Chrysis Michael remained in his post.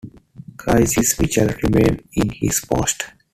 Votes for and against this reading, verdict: 2, 1, accepted